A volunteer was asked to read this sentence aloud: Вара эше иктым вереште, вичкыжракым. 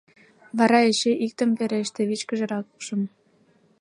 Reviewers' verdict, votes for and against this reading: rejected, 3, 4